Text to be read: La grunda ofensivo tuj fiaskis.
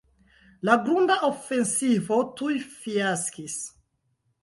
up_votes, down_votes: 1, 2